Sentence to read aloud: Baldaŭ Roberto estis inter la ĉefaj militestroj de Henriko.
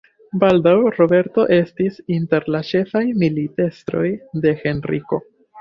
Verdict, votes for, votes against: accepted, 3, 1